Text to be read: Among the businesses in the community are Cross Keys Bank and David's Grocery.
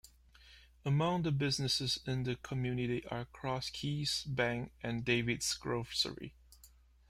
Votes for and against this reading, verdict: 1, 2, rejected